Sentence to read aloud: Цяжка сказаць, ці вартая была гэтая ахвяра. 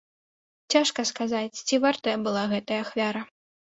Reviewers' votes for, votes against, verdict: 3, 0, accepted